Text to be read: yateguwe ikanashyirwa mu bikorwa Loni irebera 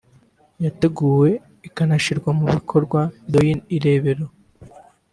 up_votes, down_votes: 0, 2